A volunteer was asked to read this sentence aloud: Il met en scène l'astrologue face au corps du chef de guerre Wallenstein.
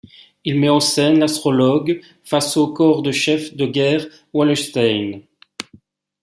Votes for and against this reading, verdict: 2, 0, accepted